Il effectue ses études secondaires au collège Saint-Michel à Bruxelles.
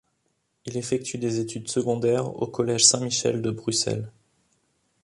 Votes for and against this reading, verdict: 0, 2, rejected